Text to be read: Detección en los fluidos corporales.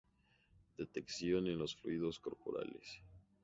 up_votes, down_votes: 0, 2